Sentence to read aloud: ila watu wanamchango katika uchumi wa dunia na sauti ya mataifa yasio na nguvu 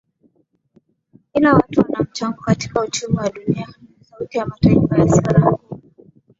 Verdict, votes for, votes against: accepted, 2, 1